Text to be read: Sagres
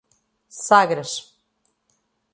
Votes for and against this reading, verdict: 0, 2, rejected